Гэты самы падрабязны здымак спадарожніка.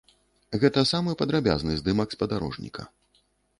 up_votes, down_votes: 0, 2